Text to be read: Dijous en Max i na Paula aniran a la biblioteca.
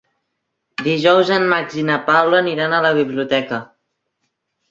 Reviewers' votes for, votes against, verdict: 4, 0, accepted